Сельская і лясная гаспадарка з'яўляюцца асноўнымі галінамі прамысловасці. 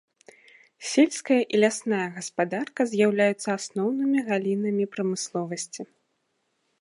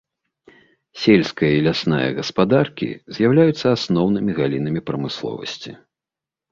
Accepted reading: first